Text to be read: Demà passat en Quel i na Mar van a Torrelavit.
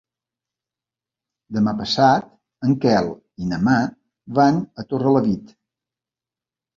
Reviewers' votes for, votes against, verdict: 2, 0, accepted